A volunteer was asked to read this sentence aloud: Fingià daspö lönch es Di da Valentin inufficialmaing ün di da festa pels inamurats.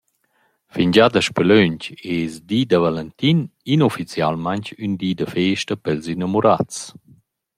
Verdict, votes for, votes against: accepted, 2, 0